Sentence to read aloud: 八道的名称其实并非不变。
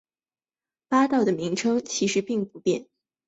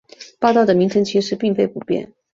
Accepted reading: second